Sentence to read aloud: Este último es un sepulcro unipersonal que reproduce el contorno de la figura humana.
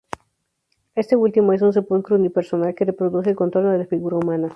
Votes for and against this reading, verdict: 0, 2, rejected